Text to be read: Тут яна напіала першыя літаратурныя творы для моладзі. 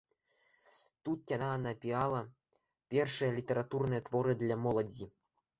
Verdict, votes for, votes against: accepted, 2, 0